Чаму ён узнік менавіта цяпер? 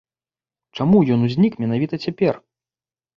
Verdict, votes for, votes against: accepted, 2, 0